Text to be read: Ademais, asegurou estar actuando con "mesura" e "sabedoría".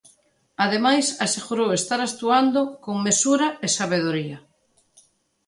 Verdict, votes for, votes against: accepted, 2, 0